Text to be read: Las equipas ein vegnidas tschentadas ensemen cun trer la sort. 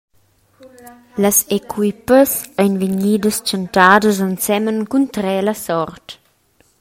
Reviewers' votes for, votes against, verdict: 2, 0, accepted